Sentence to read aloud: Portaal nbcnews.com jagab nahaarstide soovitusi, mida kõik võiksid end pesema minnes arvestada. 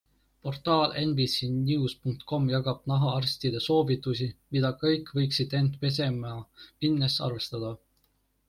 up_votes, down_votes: 2, 0